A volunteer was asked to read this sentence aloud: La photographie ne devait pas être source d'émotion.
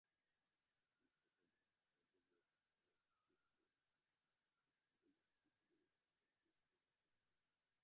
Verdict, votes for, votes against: rejected, 0, 2